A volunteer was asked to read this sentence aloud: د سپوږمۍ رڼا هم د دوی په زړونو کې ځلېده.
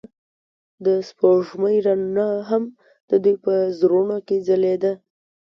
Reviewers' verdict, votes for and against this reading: accepted, 2, 0